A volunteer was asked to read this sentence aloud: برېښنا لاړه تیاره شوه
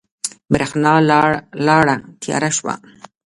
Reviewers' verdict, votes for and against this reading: rejected, 1, 2